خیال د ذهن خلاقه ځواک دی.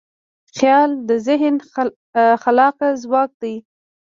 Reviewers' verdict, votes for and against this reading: accepted, 2, 1